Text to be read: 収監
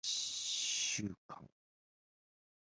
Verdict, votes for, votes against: rejected, 0, 2